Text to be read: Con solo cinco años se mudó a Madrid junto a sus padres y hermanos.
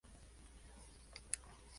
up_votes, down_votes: 0, 4